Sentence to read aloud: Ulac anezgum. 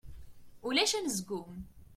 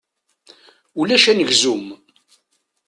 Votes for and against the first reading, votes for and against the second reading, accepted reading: 2, 0, 1, 2, first